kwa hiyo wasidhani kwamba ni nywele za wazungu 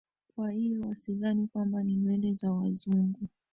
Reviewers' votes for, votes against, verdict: 0, 2, rejected